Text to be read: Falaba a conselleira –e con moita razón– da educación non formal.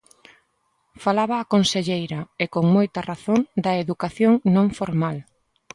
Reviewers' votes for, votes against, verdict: 2, 0, accepted